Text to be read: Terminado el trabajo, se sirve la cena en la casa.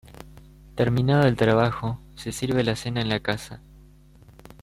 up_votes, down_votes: 1, 2